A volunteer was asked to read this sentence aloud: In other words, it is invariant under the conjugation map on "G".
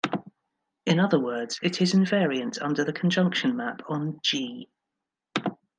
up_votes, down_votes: 1, 2